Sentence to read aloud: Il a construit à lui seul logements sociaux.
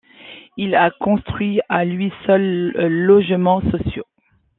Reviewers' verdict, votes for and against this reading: rejected, 0, 2